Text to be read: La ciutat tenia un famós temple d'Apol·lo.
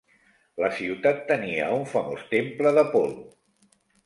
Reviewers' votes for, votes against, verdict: 2, 0, accepted